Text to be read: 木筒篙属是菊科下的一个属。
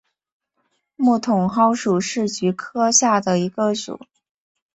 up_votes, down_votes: 3, 2